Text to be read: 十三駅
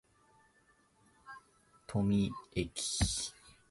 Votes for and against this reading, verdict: 0, 2, rejected